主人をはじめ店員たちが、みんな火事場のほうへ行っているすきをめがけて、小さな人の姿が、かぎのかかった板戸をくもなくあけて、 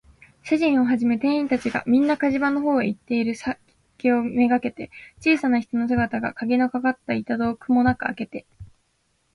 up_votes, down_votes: 5, 3